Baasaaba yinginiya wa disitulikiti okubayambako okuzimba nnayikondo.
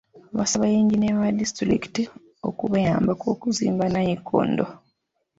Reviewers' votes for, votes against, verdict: 2, 0, accepted